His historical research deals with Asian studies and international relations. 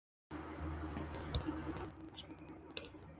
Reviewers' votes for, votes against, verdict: 0, 2, rejected